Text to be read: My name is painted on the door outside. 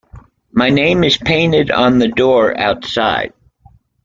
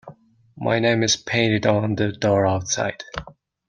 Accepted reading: first